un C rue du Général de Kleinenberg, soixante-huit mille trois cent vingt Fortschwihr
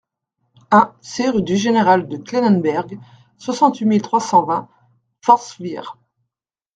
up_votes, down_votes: 2, 0